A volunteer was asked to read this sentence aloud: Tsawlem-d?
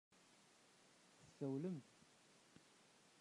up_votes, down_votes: 0, 2